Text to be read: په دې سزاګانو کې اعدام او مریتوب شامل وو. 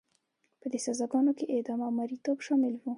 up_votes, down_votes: 2, 0